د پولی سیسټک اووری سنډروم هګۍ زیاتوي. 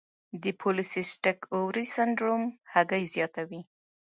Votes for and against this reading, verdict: 1, 2, rejected